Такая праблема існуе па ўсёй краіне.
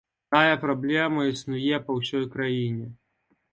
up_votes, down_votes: 1, 2